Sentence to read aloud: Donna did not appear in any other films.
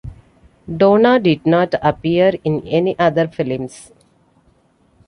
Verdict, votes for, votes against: accepted, 2, 0